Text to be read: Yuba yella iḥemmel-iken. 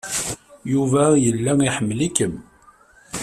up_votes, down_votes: 1, 2